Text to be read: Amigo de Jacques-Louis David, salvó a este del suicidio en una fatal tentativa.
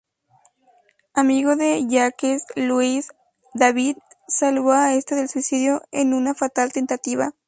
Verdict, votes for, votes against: accepted, 2, 0